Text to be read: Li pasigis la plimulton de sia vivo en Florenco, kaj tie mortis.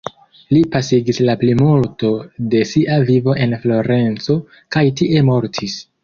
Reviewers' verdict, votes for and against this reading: rejected, 1, 2